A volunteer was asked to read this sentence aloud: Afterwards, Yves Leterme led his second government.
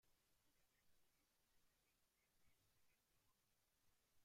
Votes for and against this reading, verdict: 0, 2, rejected